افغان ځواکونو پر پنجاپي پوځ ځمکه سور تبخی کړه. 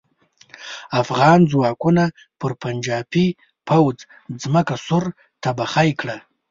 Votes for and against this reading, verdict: 1, 2, rejected